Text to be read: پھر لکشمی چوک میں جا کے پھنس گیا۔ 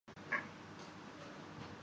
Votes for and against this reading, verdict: 0, 2, rejected